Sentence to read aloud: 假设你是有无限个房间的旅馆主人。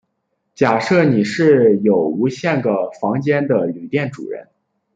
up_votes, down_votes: 0, 2